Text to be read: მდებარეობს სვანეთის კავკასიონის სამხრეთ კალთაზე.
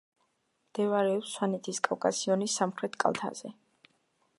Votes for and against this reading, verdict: 2, 0, accepted